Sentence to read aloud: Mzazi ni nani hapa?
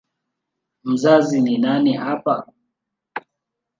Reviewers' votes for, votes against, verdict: 1, 2, rejected